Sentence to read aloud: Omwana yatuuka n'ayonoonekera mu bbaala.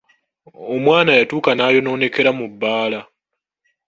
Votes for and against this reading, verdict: 2, 1, accepted